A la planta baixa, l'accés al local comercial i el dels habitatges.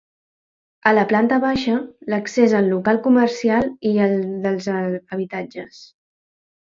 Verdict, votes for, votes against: rejected, 0, 2